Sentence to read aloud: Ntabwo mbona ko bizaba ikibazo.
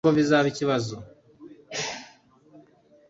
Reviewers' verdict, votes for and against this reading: rejected, 1, 2